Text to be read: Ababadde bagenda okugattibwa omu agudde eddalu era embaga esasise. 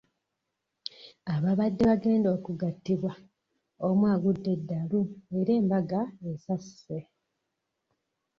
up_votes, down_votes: 1, 2